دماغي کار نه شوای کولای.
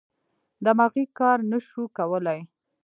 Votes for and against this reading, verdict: 1, 2, rejected